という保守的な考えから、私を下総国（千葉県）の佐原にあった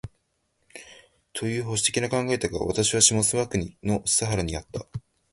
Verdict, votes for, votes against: rejected, 0, 2